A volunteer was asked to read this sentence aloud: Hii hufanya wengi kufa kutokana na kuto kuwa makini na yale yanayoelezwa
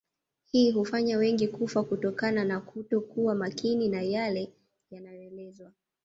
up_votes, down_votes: 1, 2